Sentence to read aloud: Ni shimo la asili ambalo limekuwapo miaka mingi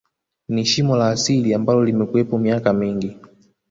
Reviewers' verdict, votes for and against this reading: rejected, 0, 2